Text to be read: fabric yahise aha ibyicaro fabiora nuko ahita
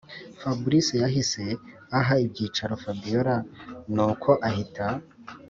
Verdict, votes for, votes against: accepted, 3, 0